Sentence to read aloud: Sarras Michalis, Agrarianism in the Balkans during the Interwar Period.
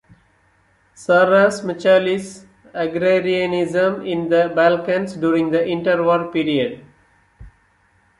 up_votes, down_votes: 2, 0